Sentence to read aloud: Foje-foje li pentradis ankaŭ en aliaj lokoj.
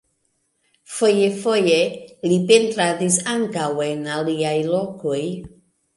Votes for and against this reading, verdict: 3, 0, accepted